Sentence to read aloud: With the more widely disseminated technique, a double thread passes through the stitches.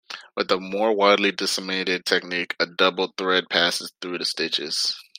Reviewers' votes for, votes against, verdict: 1, 2, rejected